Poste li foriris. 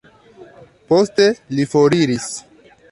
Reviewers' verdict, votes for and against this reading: accepted, 2, 1